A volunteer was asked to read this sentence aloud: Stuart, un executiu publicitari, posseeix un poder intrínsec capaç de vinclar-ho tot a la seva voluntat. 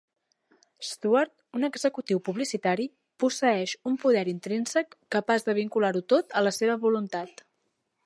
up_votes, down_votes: 0, 3